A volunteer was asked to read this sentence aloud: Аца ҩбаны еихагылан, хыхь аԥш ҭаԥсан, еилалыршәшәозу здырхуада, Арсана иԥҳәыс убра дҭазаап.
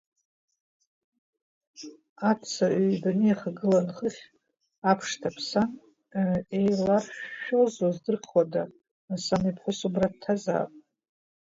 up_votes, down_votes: 2, 1